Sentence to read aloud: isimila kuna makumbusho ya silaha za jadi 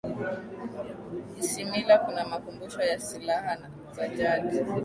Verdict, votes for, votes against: rejected, 0, 3